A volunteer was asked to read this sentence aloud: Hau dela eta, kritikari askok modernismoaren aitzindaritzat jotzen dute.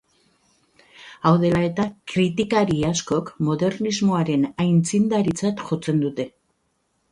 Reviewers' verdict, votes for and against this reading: accepted, 2, 0